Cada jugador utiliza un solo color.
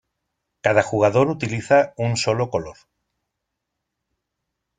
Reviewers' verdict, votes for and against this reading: accepted, 2, 0